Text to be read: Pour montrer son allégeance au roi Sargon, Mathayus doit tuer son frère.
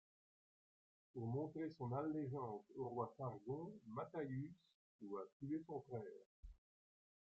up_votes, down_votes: 2, 1